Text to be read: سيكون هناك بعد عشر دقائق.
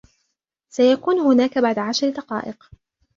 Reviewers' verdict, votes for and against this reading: accepted, 2, 0